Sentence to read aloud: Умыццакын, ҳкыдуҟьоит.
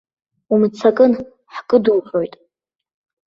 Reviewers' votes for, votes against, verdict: 2, 1, accepted